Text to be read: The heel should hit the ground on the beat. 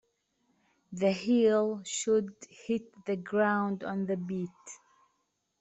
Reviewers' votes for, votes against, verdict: 2, 0, accepted